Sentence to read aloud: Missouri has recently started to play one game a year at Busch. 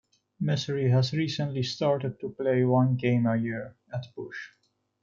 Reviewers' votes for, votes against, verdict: 1, 2, rejected